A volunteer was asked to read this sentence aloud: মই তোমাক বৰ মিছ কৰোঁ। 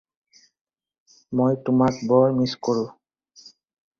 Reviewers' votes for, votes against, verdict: 4, 0, accepted